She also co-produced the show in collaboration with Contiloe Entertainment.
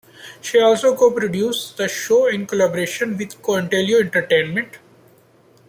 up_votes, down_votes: 2, 0